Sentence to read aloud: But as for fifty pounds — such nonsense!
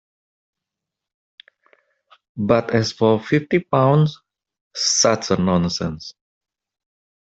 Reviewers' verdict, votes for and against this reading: accepted, 2, 0